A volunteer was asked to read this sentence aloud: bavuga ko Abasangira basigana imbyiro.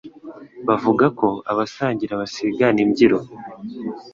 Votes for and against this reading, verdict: 2, 0, accepted